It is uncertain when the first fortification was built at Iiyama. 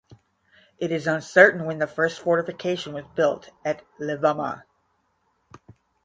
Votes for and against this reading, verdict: 0, 10, rejected